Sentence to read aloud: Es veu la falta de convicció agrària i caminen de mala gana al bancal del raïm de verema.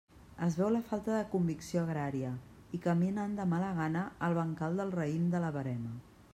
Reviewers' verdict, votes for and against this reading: rejected, 1, 2